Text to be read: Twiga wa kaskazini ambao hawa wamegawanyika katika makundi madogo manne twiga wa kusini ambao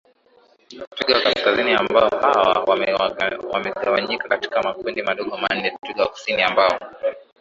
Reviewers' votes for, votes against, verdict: 0, 2, rejected